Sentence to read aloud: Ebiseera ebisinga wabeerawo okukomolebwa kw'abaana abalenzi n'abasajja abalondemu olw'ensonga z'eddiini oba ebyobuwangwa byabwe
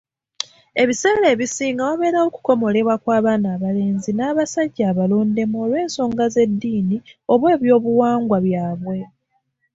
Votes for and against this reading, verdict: 3, 0, accepted